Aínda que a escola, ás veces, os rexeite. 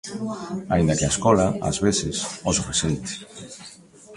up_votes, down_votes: 1, 2